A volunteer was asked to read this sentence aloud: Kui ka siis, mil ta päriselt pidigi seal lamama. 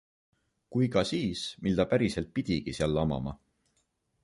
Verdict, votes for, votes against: accepted, 2, 0